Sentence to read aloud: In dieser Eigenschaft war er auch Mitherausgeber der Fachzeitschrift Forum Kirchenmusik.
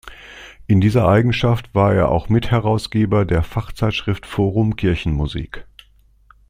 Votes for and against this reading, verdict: 2, 0, accepted